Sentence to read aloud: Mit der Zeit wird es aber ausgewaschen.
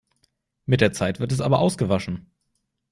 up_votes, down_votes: 2, 0